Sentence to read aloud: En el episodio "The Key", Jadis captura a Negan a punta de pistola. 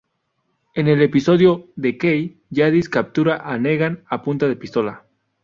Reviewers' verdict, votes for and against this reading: accepted, 2, 0